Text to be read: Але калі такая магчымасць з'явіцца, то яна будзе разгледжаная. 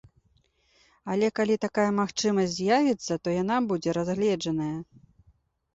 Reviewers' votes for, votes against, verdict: 2, 0, accepted